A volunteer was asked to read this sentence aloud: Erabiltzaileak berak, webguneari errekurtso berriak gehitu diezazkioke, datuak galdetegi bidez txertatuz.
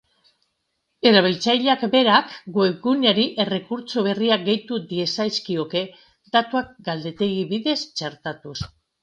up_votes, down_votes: 2, 0